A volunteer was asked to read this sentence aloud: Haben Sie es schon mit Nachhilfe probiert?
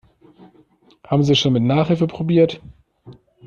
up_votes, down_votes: 1, 2